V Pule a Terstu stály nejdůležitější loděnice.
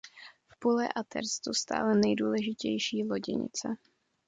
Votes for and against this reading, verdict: 2, 0, accepted